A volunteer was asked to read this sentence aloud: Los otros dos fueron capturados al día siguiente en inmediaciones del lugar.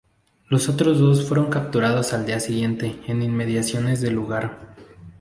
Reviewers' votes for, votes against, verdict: 0, 2, rejected